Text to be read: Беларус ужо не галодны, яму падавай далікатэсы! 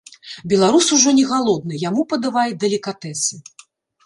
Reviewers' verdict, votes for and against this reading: rejected, 1, 2